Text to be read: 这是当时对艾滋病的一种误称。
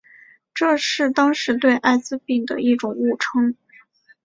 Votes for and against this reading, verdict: 2, 0, accepted